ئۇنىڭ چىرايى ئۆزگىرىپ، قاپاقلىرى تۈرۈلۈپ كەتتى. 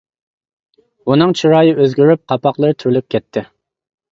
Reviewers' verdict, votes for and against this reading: accepted, 2, 0